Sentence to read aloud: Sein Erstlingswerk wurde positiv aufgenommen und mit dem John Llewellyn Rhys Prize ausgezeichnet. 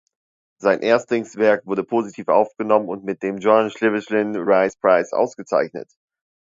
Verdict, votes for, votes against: rejected, 1, 2